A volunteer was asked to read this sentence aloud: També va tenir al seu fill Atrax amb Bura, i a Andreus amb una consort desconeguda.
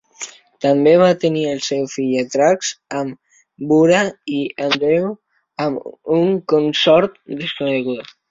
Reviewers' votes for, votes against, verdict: 0, 2, rejected